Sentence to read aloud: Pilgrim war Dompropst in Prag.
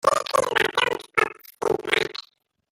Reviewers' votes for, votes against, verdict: 0, 2, rejected